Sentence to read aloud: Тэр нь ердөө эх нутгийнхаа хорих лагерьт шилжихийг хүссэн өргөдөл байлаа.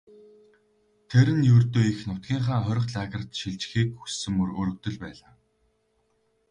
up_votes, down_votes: 0, 4